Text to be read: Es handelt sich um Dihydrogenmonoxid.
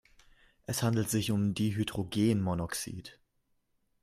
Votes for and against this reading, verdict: 2, 0, accepted